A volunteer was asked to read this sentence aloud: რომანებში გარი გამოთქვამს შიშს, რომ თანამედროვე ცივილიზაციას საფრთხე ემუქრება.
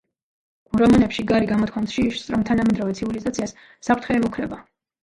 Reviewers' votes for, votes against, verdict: 1, 2, rejected